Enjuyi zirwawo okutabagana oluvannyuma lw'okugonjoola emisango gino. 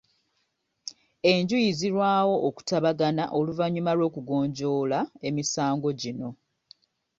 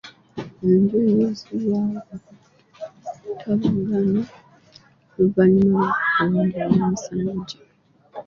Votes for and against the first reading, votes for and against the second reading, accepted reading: 3, 0, 0, 2, first